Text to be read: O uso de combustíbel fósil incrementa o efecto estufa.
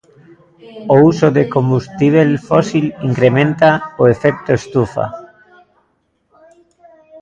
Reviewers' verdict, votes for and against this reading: rejected, 0, 2